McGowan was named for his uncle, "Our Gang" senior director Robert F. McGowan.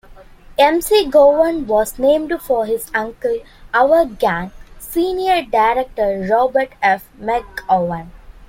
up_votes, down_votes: 0, 2